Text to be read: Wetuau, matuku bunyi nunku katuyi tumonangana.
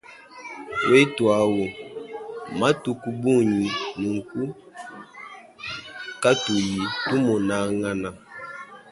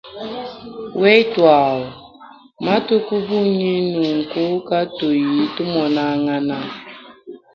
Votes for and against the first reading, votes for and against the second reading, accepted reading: 0, 3, 2, 0, second